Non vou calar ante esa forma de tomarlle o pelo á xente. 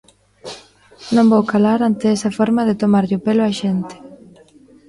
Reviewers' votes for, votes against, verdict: 2, 0, accepted